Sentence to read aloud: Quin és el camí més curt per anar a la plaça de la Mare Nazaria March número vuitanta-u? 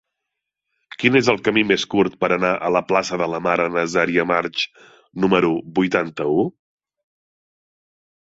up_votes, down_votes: 1, 2